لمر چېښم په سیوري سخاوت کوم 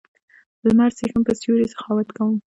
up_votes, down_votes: 0, 2